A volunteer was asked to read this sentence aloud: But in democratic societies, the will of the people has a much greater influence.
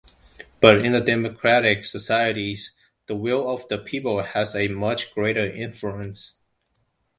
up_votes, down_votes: 1, 2